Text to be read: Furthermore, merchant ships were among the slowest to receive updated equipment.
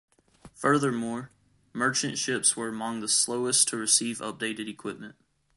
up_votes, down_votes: 2, 0